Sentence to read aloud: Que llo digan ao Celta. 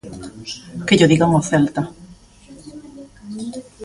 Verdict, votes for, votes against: rejected, 0, 2